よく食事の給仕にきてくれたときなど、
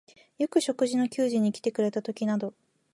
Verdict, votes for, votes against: accepted, 2, 0